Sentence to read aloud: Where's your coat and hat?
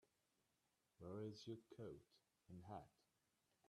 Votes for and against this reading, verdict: 0, 2, rejected